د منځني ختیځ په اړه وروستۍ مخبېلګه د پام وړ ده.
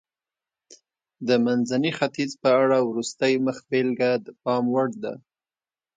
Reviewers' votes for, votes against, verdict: 2, 0, accepted